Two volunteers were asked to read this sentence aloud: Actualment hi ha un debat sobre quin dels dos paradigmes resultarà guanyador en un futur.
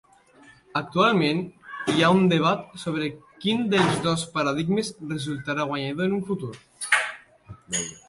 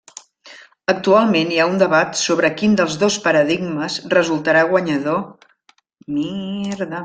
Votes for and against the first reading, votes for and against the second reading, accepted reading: 3, 1, 0, 2, first